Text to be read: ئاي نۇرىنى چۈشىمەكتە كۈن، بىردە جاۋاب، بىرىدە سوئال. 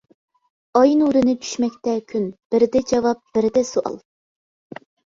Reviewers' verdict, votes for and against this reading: rejected, 0, 2